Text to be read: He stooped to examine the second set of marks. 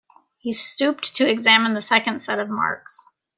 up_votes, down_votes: 2, 1